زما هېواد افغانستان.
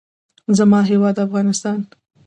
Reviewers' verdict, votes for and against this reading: accepted, 2, 0